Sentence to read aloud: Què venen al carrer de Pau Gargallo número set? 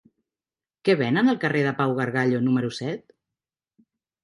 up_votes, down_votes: 3, 0